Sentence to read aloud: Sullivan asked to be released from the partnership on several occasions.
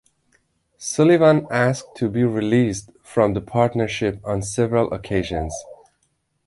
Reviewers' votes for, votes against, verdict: 2, 1, accepted